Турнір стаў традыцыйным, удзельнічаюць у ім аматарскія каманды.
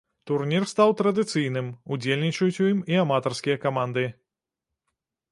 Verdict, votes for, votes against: rejected, 0, 2